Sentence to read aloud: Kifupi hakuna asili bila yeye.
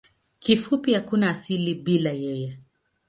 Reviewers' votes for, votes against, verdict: 9, 0, accepted